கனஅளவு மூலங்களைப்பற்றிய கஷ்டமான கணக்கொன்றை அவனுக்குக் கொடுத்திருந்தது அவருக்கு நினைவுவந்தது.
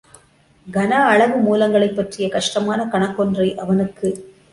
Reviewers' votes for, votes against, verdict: 0, 2, rejected